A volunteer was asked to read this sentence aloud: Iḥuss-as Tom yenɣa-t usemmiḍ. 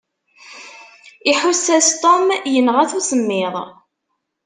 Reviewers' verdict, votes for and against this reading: accepted, 2, 0